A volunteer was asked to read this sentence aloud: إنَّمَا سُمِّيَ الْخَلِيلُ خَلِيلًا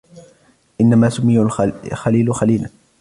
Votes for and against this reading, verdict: 2, 1, accepted